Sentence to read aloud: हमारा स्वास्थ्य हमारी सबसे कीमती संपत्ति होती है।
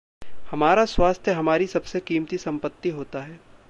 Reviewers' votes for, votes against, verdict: 1, 2, rejected